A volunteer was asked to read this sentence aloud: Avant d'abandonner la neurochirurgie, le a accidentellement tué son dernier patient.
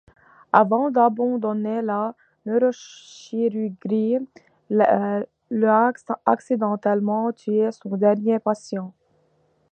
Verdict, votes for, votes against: rejected, 1, 2